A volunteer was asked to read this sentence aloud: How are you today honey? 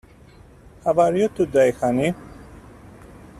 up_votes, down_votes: 2, 0